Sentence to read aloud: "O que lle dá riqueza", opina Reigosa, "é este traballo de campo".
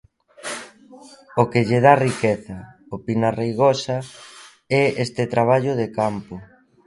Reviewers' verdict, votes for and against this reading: accepted, 2, 0